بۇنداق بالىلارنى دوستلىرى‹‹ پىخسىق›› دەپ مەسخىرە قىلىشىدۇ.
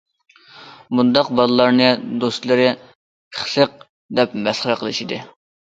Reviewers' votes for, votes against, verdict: 0, 2, rejected